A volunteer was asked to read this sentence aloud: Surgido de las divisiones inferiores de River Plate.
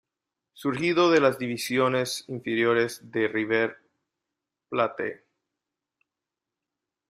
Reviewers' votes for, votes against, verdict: 1, 2, rejected